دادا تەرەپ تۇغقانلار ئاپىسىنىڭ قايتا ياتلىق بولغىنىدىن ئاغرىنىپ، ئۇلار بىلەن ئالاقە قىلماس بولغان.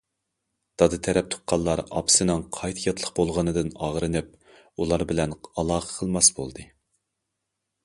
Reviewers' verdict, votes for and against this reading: rejected, 1, 2